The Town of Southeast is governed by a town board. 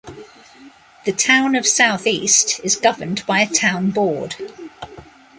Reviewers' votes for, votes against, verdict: 2, 0, accepted